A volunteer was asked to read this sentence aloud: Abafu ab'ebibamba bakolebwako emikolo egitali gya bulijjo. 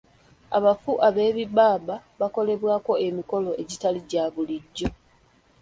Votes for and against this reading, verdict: 1, 2, rejected